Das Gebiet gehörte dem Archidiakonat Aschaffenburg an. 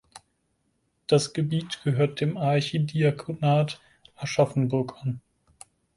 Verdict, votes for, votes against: accepted, 4, 2